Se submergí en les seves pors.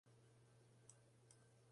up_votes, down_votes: 0, 2